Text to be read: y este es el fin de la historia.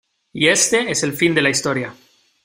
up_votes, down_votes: 2, 0